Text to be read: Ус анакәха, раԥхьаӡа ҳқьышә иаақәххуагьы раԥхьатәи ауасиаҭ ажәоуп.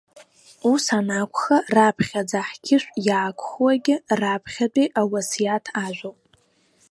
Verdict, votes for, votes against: accepted, 2, 0